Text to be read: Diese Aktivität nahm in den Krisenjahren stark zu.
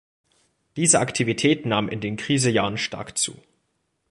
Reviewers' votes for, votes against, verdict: 2, 1, accepted